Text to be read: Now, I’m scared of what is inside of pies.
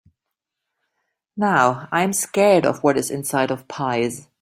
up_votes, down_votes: 0, 2